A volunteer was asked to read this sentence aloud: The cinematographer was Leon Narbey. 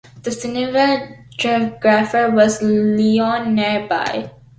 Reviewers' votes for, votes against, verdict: 0, 2, rejected